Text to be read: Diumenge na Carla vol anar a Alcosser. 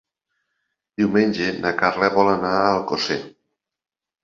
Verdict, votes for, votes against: accepted, 3, 0